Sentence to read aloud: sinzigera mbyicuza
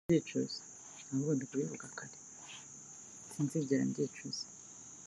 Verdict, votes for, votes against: rejected, 0, 2